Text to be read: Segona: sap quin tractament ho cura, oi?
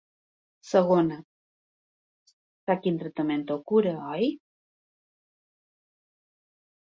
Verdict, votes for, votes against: rejected, 1, 2